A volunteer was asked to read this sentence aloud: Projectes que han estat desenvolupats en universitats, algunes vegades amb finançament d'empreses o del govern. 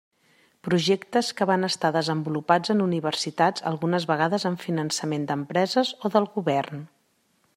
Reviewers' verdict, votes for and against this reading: rejected, 0, 2